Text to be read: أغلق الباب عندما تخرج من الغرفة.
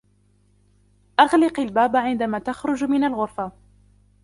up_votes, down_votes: 0, 2